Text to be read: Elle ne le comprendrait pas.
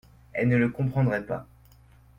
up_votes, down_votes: 2, 0